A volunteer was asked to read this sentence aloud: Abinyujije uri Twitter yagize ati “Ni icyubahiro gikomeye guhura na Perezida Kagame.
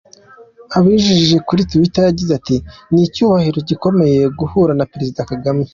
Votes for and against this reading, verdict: 2, 1, accepted